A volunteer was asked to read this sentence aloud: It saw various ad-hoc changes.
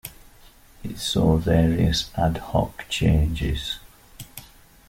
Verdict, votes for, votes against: accepted, 2, 0